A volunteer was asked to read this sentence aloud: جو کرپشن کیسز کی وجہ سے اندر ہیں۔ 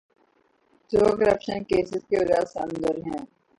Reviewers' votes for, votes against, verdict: 3, 6, rejected